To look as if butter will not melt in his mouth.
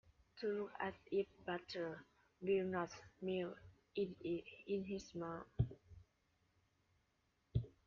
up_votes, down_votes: 0, 2